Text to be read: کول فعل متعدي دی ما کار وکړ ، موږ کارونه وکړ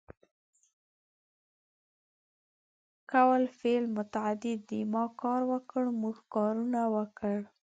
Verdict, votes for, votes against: rejected, 1, 2